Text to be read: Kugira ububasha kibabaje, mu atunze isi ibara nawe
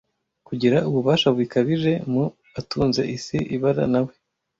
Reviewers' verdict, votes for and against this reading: rejected, 1, 2